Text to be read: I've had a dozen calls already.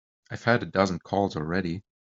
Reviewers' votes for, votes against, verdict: 3, 1, accepted